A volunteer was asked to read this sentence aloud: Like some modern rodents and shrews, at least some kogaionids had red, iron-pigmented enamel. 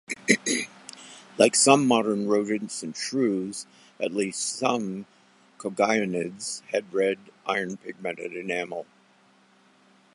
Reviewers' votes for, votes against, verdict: 1, 2, rejected